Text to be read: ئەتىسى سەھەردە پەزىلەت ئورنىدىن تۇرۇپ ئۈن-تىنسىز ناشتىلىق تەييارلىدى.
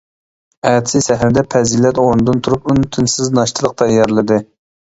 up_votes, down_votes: 2, 0